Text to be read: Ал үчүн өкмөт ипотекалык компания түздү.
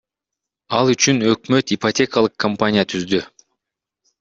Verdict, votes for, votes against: rejected, 1, 2